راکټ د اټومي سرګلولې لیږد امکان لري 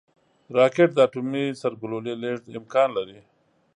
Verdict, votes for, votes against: accepted, 3, 0